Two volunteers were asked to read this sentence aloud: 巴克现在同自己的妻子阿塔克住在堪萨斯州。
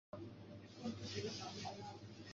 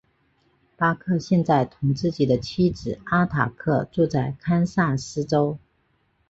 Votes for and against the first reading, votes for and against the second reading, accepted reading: 0, 2, 4, 1, second